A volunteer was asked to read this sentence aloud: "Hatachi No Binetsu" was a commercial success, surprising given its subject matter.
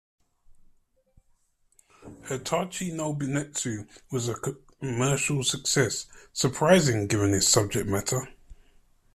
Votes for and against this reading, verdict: 2, 1, accepted